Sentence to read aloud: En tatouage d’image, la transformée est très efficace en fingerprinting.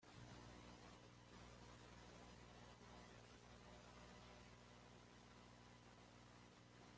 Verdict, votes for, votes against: rejected, 0, 2